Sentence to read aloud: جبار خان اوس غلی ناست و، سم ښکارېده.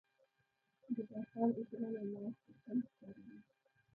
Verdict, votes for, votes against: rejected, 0, 2